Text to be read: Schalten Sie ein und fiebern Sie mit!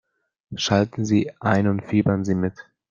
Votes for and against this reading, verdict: 2, 1, accepted